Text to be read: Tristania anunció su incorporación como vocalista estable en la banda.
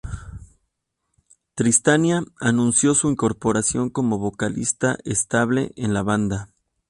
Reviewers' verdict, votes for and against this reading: accepted, 4, 0